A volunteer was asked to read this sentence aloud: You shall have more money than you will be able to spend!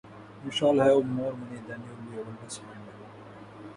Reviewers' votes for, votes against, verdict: 0, 2, rejected